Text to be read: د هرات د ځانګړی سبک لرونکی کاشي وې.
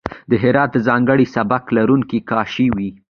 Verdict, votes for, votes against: accepted, 2, 0